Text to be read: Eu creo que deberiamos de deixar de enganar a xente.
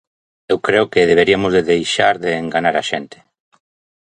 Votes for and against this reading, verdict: 0, 2, rejected